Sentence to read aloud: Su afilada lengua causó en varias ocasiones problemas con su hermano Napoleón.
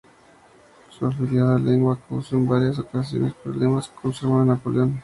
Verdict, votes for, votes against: rejected, 0, 2